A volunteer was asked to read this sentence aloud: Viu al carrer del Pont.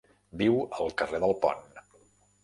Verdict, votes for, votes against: accepted, 3, 0